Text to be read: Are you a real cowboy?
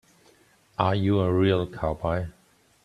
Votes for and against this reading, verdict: 2, 0, accepted